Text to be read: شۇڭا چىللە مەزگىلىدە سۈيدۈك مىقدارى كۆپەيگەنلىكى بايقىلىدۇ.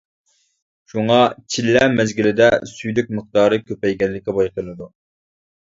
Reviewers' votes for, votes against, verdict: 2, 0, accepted